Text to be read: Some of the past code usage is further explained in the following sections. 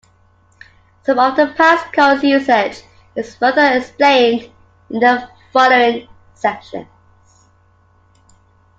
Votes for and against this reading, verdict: 2, 1, accepted